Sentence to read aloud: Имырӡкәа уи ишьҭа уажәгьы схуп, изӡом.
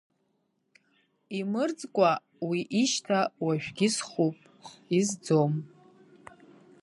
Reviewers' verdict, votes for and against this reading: rejected, 0, 2